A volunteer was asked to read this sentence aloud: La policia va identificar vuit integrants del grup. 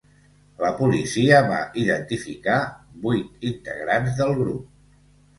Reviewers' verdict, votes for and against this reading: accepted, 2, 0